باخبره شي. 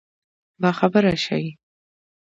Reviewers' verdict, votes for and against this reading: accepted, 2, 0